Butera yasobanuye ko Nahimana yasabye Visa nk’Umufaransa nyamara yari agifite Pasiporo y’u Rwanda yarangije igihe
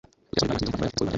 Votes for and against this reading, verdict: 1, 2, rejected